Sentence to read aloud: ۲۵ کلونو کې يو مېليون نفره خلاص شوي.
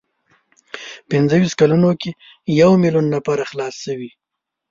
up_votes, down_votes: 0, 2